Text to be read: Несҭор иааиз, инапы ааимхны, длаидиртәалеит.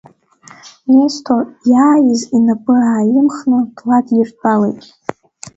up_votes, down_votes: 0, 2